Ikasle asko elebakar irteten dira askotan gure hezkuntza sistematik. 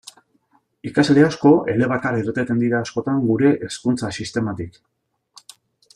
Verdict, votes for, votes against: accepted, 2, 0